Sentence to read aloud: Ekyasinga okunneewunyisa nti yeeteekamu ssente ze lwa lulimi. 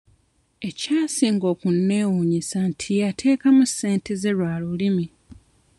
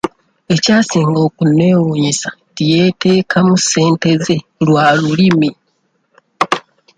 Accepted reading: second